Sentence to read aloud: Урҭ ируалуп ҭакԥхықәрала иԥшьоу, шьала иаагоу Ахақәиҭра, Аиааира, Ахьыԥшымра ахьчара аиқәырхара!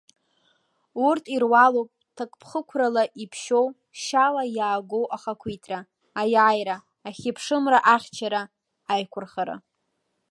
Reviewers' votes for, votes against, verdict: 2, 0, accepted